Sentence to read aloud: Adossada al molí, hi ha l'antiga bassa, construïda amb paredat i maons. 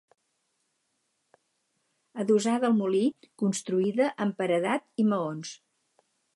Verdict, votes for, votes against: rejected, 0, 4